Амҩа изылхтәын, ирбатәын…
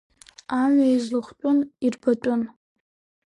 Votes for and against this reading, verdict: 2, 1, accepted